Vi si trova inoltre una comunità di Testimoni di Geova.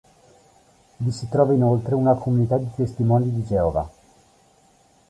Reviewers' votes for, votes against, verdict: 3, 0, accepted